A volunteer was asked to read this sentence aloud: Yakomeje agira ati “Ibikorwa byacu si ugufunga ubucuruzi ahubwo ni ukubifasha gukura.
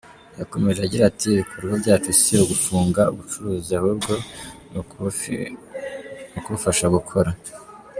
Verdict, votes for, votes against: rejected, 1, 2